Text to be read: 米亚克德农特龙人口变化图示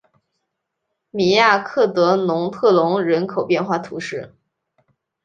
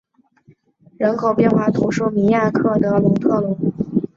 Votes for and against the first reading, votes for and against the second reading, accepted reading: 3, 0, 0, 2, first